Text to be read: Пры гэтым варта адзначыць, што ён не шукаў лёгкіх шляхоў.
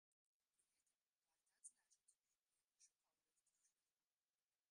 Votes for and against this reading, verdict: 0, 2, rejected